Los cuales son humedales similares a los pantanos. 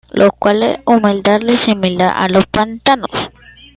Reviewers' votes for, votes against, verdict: 0, 2, rejected